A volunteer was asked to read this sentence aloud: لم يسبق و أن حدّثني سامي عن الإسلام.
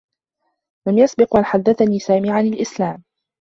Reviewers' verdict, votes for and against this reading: accepted, 2, 1